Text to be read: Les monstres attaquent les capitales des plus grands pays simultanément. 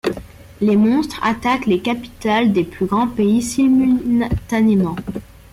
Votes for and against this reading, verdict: 1, 2, rejected